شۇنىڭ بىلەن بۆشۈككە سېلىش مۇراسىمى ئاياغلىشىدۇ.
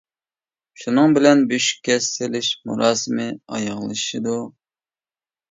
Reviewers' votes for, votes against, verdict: 2, 0, accepted